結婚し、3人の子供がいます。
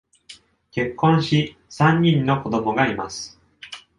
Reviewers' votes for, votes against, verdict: 0, 2, rejected